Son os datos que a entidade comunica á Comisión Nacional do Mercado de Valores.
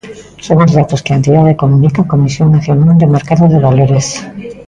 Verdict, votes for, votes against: accepted, 2, 0